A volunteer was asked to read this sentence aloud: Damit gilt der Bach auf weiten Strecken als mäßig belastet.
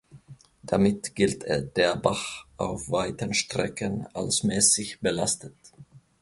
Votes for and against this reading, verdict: 1, 2, rejected